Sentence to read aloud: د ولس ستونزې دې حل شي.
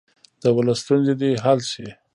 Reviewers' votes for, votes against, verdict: 1, 2, rejected